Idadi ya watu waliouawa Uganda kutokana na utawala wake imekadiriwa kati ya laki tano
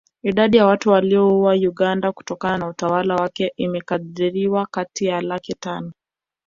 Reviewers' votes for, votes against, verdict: 3, 4, rejected